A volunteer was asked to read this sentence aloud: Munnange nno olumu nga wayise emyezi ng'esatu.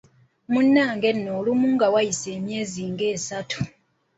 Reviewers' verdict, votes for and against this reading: rejected, 0, 2